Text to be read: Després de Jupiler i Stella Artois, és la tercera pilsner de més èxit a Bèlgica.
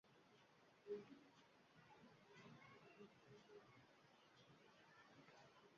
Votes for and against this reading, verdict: 0, 2, rejected